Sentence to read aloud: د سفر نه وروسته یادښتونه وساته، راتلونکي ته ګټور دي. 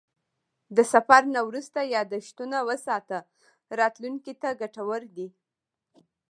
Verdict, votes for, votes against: accepted, 2, 0